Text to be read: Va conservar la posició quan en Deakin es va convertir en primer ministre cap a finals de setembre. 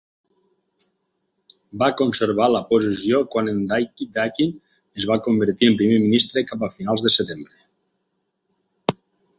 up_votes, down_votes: 2, 4